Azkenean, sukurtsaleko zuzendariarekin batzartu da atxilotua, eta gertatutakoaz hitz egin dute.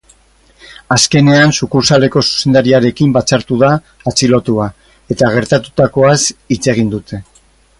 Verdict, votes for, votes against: rejected, 2, 2